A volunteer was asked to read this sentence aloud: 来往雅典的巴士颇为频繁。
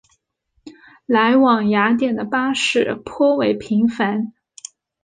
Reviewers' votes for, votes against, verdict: 2, 0, accepted